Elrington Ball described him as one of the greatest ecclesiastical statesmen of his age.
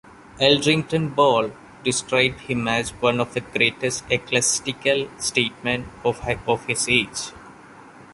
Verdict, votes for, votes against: rejected, 0, 2